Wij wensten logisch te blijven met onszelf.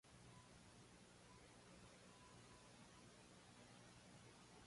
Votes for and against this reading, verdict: 1, 2, rejected